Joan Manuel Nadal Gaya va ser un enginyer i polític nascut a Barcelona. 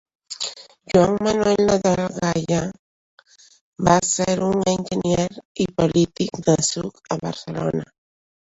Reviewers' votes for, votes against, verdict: 0, 2, rejected